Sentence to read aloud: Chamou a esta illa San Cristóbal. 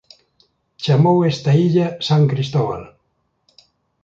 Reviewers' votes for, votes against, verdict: 2, 0, accepted